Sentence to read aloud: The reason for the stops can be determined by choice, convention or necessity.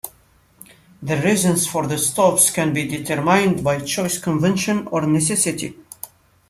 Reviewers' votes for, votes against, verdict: 0, 2, rejected